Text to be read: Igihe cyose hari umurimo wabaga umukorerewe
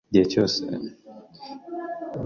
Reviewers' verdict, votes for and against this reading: rejected, 1, 2